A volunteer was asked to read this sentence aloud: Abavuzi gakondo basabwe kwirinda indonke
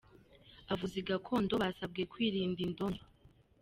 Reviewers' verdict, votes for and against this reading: rejected, 0, 2